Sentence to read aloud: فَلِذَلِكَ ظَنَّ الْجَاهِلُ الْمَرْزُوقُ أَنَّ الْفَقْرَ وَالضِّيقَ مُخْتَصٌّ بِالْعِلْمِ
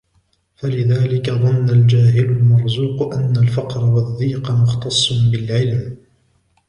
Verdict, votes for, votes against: rejected, 0, 2